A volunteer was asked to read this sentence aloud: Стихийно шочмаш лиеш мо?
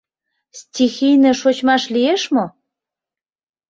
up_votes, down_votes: 2, 0